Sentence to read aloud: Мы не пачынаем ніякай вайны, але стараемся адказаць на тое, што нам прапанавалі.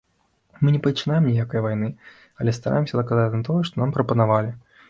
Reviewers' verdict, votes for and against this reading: rejected, 1, 2